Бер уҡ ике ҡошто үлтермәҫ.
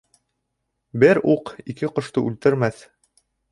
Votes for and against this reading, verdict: 3, 0, accepted